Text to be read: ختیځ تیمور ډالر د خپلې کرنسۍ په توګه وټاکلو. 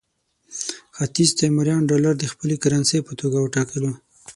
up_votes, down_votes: 6, 9